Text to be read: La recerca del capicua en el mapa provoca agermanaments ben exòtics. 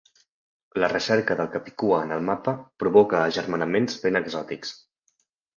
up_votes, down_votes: 3, 0